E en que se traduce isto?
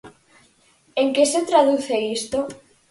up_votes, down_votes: 2, 4